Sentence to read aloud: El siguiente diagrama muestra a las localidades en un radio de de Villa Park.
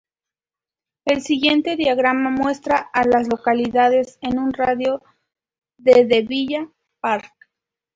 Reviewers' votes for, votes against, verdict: 0, 2, rejected